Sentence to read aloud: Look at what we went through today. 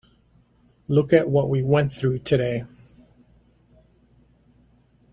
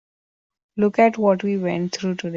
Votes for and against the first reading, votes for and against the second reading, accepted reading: 2, 0, 0, 2, first